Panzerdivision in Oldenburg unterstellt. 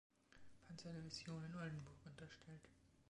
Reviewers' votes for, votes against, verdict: 2, 1, accepted